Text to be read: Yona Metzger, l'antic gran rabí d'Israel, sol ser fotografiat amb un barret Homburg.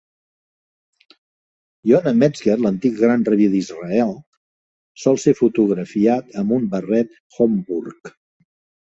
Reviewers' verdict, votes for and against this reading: accepted, 2, 0